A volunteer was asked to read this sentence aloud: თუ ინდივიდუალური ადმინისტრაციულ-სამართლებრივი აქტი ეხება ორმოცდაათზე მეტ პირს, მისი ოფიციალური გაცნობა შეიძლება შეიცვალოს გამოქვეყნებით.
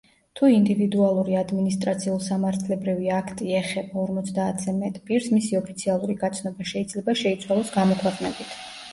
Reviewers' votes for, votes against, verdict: 2, 0, accepted